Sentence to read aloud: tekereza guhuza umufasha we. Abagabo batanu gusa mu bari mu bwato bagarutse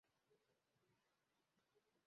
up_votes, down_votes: 0, 2